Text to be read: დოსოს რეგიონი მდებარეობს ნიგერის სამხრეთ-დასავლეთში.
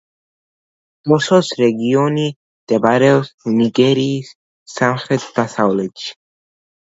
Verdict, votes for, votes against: rejected, 1, 2